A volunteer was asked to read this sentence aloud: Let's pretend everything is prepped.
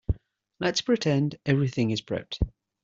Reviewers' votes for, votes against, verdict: 2, 0, accepted